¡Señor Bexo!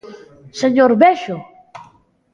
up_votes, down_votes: 2, 0